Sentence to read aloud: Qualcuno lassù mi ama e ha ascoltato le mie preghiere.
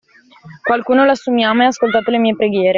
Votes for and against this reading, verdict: 2, 0, accepted